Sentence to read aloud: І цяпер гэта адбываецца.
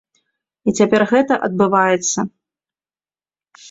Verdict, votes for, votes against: accepted, 2, 0